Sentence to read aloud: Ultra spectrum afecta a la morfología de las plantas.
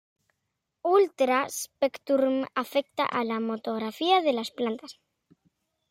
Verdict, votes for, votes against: rejected, 0, 2